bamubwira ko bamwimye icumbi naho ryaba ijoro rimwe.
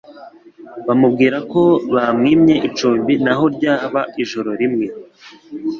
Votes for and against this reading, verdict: 2, 0, accepted